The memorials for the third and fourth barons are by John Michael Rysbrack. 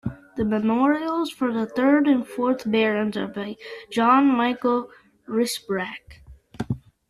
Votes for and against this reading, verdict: 2, 1, accepted